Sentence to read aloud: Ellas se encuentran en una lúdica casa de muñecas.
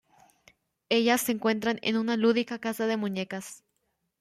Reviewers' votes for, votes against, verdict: 2, 0, accepted